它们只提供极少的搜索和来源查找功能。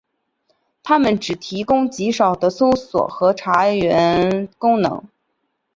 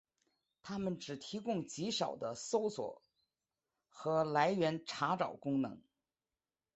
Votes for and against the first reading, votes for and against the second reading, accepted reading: 0, 2, 2, 0, second